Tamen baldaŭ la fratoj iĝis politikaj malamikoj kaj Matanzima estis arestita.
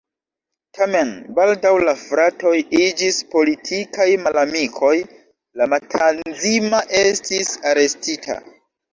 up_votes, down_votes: 0, 2